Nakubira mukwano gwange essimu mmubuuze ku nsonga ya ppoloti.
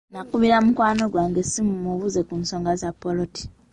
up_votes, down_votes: 1, 2